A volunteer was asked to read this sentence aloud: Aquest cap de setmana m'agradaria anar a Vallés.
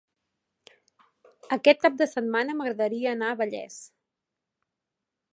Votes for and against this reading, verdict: 5, 0, accepted